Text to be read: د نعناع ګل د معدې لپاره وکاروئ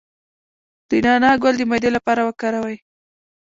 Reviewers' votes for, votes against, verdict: 1, 2, rejected